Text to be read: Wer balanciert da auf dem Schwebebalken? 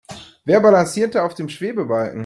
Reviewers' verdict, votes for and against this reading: accepted, 2, 0